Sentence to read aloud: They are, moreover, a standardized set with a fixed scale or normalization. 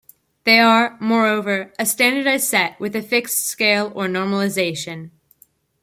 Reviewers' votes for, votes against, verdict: 1, 2, rejected